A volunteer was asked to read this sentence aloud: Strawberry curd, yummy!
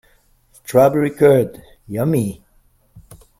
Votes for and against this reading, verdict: 1, 2, rejected